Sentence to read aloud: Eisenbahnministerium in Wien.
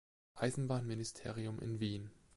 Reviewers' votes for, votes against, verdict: 3, 0, accepted